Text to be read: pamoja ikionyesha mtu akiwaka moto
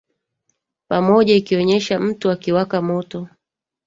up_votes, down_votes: 3, 2